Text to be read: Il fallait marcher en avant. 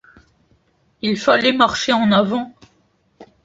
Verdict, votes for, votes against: accepted, 2, 0